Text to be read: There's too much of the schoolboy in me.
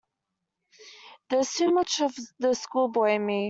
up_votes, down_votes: 2, 0